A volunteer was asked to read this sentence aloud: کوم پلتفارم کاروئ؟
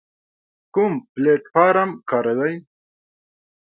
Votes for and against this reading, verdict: 2, 0, accepted